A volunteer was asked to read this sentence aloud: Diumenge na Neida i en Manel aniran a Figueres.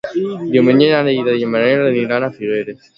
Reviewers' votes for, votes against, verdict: 2, 0, accepted